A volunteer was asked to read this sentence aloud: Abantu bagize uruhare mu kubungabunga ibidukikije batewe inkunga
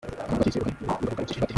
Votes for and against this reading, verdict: 0, 2, rejected